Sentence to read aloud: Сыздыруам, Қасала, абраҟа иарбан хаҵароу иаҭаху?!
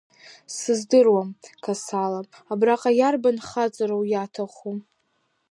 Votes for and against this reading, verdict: 1, 2, rejected